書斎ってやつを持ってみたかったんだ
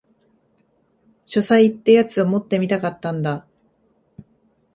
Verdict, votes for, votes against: accepted, 2, 0